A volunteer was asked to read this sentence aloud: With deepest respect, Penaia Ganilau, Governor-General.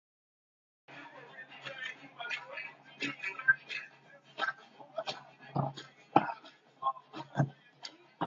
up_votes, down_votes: 0, 2